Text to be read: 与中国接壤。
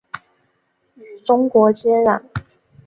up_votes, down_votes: 2, 0